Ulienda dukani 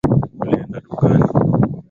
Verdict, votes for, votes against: accepted, 8, 2